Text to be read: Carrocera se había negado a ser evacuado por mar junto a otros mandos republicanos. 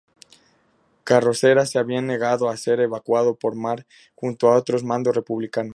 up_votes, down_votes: 2, 0